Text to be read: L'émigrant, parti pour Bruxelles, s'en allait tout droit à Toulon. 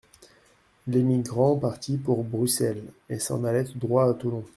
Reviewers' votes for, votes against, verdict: 0, 2, rejected